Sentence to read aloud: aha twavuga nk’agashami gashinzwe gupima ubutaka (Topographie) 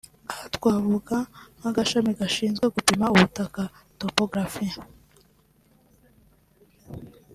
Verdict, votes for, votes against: accepted, 2, 0